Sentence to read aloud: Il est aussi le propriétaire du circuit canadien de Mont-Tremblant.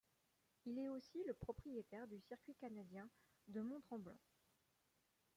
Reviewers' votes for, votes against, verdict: 0, 2, rejected